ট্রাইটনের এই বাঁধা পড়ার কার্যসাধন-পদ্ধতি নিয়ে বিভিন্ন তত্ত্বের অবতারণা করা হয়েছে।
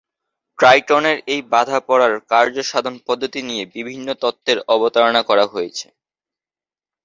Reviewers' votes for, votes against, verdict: 3, 0, accepted